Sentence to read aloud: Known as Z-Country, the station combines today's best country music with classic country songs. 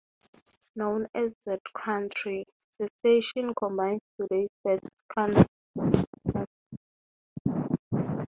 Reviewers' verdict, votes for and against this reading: rejected, 3, 3